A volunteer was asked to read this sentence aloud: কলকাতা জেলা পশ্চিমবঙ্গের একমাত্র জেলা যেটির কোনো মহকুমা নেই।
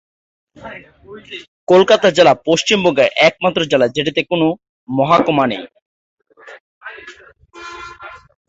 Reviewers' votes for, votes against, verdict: 1, 2, rejected